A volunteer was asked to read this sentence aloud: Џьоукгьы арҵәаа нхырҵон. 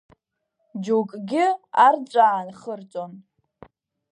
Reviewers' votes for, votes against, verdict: 3, 0, accepted